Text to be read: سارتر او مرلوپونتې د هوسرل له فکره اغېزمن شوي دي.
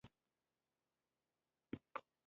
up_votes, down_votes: 0, 2